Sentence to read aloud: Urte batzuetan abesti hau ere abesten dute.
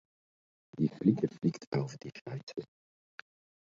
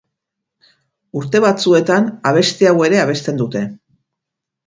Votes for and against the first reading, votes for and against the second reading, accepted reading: 0, 2, 4, 0, second